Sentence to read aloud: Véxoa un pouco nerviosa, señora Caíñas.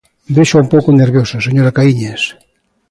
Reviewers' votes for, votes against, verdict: 2, 0, accepted